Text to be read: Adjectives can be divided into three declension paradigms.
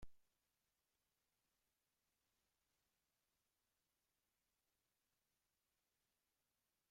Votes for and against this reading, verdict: 0, 2, rejected